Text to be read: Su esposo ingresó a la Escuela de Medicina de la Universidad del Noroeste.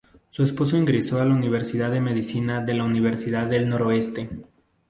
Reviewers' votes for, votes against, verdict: 0, 2, rejected